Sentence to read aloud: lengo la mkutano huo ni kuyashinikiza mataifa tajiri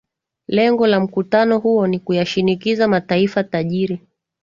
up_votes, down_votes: 9, 2